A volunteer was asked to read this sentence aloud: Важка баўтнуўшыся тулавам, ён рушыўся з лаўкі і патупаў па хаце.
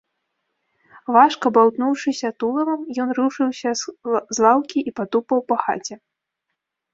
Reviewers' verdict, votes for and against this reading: rejected, 1, 2